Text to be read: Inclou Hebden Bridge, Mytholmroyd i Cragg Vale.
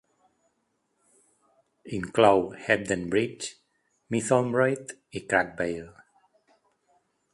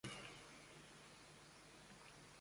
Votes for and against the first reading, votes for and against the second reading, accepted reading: 2, 0, 0, 2, first